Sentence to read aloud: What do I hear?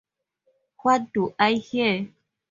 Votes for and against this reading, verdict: 2, 0, accepted